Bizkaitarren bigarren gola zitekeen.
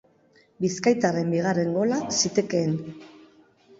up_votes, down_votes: 5, 0